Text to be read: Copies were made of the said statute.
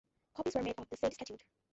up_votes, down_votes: 0, 2